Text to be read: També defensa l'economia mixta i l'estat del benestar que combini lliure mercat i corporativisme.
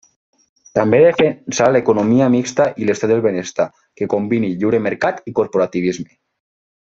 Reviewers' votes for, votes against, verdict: 2, 1, accepted